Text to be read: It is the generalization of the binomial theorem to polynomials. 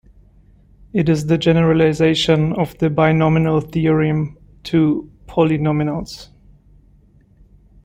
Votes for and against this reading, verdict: 1, 2, rejected